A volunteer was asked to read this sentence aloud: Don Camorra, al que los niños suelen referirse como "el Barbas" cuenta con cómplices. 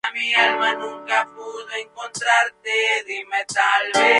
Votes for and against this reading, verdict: 0, 2, rejected